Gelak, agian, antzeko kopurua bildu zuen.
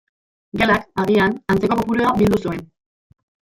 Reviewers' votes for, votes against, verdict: 1, 2, rejected